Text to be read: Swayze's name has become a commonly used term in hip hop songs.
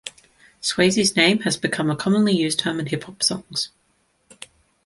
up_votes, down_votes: 2, 0